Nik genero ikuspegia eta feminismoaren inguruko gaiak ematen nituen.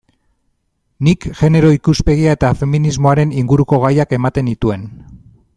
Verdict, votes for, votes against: accepted, 2, 0